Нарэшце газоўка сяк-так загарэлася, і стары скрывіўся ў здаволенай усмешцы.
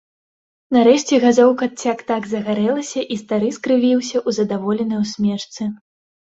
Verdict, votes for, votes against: rejected, 0, 2